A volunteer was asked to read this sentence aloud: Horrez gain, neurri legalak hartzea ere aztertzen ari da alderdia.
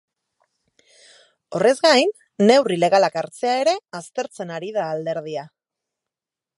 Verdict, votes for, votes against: accepted, 2, 0